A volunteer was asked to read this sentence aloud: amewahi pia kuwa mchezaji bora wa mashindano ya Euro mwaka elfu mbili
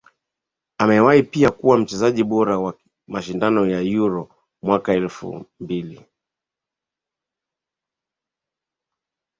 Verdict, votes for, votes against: rejected, 0, 2